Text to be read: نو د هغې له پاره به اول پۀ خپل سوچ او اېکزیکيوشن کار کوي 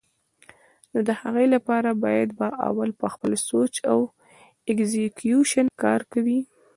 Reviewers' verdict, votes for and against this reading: rejected, 1, 2